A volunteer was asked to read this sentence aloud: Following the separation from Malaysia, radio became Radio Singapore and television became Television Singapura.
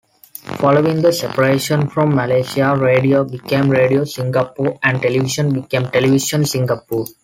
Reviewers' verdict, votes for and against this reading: rejected, 1, 2